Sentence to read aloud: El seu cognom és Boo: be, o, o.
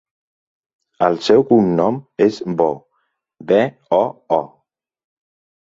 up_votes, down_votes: 2, 0